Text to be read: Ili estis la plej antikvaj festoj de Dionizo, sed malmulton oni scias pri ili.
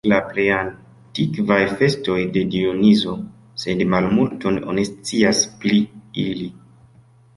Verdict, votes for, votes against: rejected, 1, 2